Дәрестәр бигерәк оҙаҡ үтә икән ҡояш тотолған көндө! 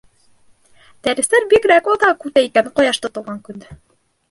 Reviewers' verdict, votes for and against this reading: rejected, 0, 2